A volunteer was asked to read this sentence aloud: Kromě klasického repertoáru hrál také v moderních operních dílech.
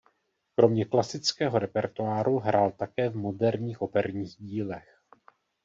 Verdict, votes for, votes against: rejected, 1, 2